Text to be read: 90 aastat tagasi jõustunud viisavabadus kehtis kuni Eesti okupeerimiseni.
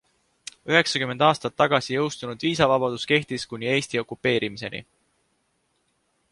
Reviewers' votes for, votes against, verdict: 0, 2, rejected